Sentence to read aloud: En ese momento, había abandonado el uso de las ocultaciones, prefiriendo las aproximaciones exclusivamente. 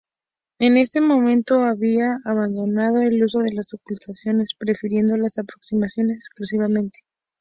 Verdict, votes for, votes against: rejected, 0, 2